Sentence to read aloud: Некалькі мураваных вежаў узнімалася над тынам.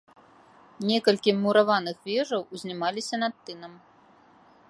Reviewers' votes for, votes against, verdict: 2, 0, accepted